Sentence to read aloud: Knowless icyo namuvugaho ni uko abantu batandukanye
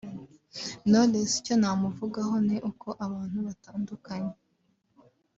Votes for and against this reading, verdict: 2, 0, accepted